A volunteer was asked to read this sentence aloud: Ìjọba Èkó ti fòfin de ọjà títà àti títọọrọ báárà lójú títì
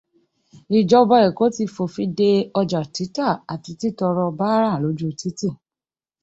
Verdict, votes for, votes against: accepted, 2, 0